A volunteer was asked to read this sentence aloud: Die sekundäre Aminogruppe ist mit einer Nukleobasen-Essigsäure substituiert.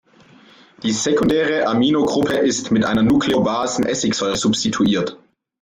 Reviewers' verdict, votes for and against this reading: accepted, 2, 0